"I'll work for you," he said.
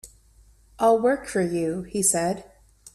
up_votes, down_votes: 2, 0